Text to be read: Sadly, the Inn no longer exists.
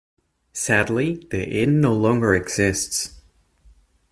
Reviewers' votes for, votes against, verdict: 2, 0, accepted